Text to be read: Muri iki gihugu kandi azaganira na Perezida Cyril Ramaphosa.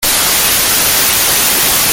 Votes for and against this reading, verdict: 0, 2, rejected